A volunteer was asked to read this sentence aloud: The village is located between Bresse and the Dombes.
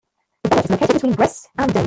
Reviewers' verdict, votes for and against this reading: rejected, 0, 2